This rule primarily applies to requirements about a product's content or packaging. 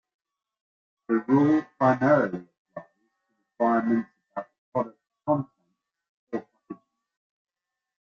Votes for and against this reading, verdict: 0, 3, rejected